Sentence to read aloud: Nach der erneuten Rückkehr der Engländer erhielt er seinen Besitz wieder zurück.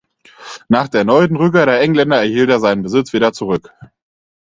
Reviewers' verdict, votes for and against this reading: rejected, 0, 4